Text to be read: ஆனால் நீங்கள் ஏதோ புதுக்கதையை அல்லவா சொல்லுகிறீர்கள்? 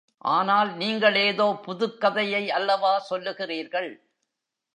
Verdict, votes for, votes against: rejected, 1, 2